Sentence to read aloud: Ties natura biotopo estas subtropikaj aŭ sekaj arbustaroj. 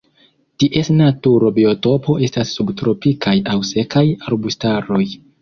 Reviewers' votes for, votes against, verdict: 0, 2, rejected